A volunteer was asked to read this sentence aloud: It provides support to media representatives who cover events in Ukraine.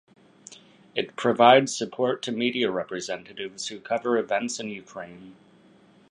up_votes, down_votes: 2, 0